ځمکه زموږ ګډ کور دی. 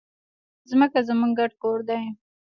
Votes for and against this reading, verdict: 1, 2, rejected